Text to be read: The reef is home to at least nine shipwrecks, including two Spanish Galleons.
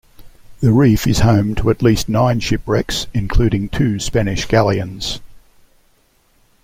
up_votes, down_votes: 2, 0